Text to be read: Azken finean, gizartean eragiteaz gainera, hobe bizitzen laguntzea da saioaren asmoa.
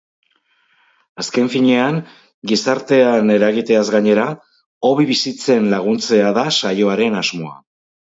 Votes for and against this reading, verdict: 6, 0, accepted